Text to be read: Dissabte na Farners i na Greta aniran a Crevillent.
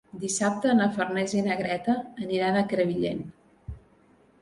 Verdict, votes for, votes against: accepted, 4, 0